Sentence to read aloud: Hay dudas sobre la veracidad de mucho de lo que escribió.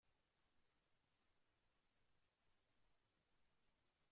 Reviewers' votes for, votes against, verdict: 0, 2, rejected